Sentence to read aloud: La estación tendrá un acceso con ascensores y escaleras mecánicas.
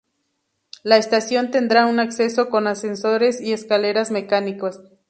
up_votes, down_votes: 0, 2